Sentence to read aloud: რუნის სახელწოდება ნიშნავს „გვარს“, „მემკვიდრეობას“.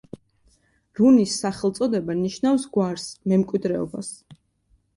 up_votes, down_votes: 2, 0